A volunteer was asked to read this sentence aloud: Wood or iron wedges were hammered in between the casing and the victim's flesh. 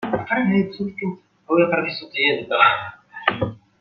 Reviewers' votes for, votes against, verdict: 0, 2, rejected